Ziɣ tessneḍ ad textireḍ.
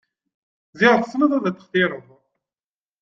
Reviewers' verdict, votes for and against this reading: accepted, 2, 0